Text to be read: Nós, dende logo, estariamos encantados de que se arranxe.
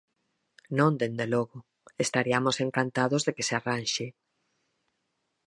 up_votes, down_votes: 0, 4